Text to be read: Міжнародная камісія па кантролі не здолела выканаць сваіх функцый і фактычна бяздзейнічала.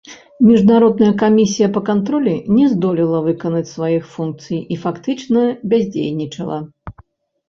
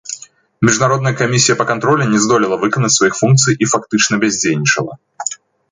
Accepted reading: second